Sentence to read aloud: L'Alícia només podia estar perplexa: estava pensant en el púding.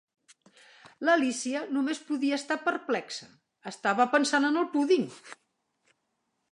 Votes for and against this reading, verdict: 2, 0, accepted